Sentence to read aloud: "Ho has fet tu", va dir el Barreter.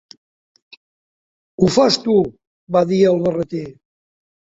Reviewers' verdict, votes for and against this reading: rejected, 0, 2